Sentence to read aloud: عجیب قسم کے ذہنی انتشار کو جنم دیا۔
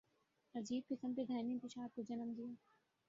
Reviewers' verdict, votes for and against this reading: rejected, 2, 2